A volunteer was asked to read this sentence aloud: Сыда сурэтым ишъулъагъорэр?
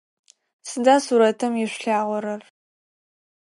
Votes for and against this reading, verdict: 4, 0, accepted